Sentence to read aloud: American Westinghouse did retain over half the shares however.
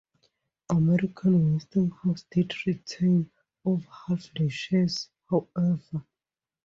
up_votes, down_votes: 0, 2